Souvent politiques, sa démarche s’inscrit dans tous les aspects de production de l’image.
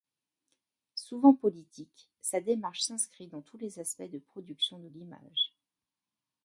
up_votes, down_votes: 2, 1